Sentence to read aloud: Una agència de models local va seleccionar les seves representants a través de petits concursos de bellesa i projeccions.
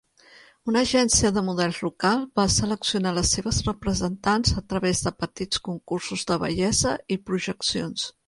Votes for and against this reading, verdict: 1, 2, rejected